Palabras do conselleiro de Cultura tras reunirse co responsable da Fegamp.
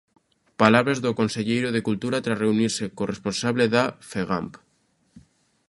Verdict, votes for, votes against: accepted, 2, 0